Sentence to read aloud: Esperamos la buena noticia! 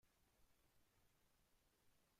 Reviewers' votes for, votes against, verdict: 0, 2, rejected